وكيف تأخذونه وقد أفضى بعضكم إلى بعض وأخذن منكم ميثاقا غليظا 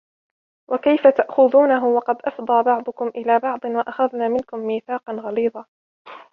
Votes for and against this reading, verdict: 2, 0, accepted